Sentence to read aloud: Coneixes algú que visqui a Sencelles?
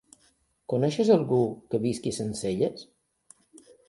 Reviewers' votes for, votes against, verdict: 2, 0, accepted